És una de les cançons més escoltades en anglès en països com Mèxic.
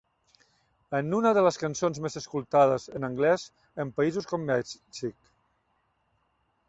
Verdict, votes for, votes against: rejected, 0, 2